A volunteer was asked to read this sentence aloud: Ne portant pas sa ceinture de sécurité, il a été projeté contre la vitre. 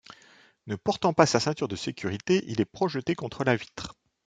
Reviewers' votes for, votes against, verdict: 0, 2, rejected